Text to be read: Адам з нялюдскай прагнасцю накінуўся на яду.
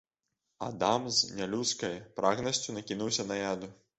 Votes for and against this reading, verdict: 0, 2, rejected